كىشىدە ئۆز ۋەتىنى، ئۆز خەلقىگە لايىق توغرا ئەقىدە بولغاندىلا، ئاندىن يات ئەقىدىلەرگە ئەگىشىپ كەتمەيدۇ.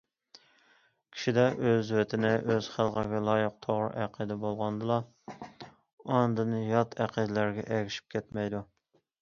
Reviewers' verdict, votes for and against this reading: accepted, 2, 0